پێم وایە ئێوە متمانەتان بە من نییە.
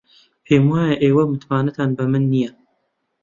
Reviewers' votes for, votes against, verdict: 2, 0, accepted